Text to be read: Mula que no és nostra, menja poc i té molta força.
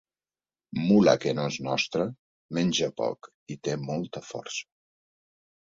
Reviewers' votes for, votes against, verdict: 3, 0, accepted